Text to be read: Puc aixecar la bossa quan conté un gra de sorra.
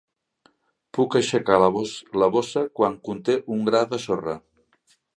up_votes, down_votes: 0, 2